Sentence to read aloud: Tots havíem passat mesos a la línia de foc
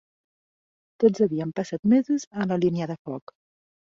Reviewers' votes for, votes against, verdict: 2, 0, accepted